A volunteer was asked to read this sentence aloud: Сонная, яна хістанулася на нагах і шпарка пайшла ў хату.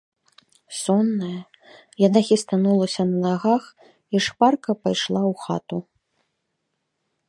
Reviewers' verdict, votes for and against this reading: accepted, 2, 0